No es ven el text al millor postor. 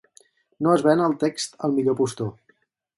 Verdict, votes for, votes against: accepted, 4, 0